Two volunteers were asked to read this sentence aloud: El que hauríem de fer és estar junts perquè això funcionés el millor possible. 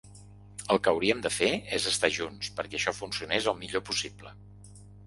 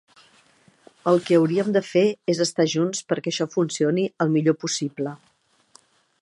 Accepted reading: first